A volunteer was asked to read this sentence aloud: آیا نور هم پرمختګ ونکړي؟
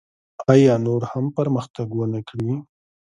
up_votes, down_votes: 2, 1